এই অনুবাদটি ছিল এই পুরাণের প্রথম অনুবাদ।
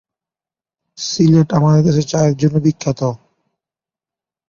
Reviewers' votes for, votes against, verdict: 0, 2, rejected